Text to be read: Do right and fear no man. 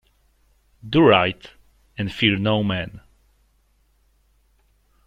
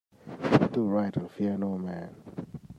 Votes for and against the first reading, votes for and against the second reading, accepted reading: 2, 0, 0, 2, first